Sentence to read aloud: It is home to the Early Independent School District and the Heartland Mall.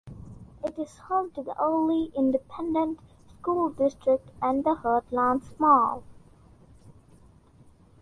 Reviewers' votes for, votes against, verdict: 2, 1, accepted